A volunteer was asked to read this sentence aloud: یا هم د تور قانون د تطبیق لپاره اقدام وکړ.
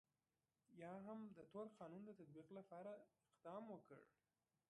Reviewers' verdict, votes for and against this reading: accepted, 2, 1